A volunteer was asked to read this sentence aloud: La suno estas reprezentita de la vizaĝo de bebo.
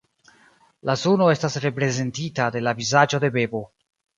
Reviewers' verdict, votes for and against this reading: accepted, 2, 0